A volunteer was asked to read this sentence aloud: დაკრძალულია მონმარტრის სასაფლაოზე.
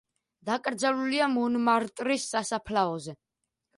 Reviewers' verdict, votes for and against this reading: rejected, 1, 2